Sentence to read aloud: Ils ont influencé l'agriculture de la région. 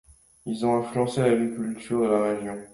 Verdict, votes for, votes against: rejected, 1, 2